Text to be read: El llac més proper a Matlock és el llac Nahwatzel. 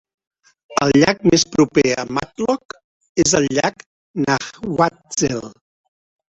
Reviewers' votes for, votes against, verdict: 0, 2, rejected